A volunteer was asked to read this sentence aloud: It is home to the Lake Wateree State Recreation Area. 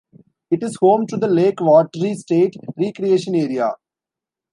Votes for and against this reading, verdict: 2, 1, accepted